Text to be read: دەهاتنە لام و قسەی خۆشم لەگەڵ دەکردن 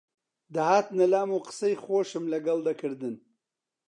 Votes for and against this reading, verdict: 2, 0, accepted